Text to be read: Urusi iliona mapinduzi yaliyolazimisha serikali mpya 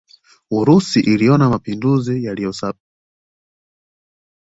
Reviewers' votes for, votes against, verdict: 0, 2, rejected